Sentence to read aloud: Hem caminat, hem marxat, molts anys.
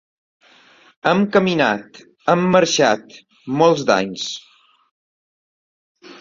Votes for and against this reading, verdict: 0, 2, rejected